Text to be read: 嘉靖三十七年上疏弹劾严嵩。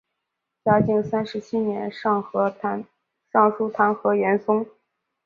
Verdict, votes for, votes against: rejected, 1, 2